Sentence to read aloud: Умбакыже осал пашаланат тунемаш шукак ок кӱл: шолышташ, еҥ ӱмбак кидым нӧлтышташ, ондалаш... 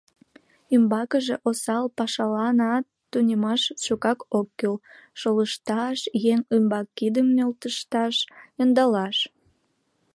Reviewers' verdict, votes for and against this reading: accepted, 2, 1